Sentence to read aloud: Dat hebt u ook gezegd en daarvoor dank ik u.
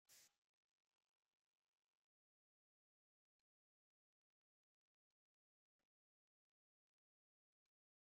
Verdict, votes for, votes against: rejected, 0, 2